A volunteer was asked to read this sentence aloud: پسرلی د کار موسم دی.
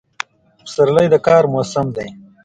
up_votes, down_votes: 2, 0